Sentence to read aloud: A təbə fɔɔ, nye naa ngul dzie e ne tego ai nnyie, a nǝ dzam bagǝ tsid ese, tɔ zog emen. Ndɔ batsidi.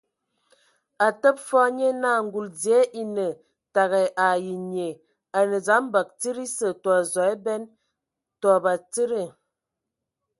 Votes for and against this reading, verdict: 2, 1, accepted